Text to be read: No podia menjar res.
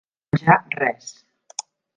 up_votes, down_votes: 0, 2